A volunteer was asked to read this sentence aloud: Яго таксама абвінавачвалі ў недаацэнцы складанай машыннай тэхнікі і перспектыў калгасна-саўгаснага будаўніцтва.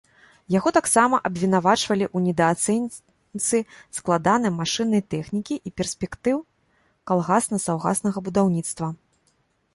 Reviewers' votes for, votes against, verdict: 1, 2, rejected